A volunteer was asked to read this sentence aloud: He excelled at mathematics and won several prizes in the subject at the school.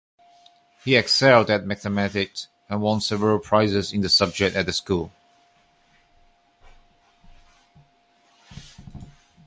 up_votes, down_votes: 2, 0